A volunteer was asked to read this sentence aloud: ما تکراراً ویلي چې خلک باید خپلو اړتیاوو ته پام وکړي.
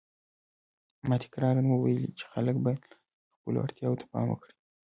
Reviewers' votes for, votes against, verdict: 2, 0, accepted